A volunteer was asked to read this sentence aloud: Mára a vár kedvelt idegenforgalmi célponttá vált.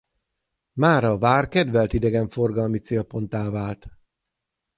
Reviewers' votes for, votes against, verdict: 6, 0, accepted